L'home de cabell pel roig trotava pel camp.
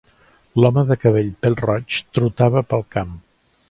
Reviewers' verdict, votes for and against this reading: accepted, 3, 0